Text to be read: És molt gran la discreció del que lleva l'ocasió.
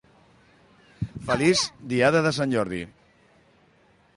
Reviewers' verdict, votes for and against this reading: rejected, 0, 2